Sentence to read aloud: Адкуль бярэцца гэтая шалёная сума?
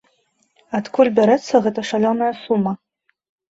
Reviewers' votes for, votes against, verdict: 1, 2, rejected